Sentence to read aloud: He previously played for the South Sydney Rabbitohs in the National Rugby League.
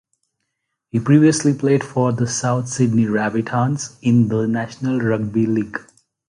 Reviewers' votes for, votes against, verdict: 0, 2, rejected